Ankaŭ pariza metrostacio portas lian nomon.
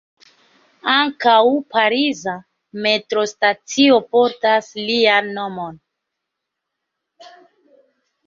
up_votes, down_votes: 2, 0